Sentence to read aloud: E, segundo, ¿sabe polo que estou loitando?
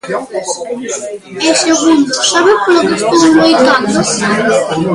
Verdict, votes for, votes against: rejected, 0, 2